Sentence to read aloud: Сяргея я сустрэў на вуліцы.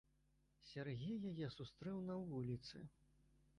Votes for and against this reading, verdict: 1, 2, rejected